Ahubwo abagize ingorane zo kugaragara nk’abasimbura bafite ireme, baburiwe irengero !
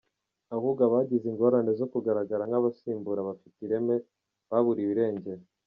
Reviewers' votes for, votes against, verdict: 2, 1, accepted